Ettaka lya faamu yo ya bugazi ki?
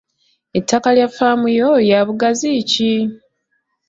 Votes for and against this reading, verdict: 2, 1, accepted